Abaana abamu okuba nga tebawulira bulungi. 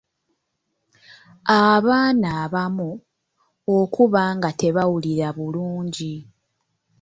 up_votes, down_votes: 0, 2